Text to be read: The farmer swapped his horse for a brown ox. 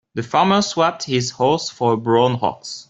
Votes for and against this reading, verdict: 2, 1, accepted